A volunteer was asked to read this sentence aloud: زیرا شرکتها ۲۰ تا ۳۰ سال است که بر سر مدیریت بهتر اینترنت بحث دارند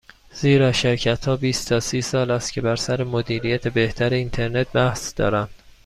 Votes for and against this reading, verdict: 0, 2, rejected